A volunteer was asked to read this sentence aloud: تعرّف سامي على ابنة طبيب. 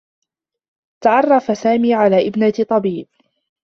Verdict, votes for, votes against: accepted, 2, 0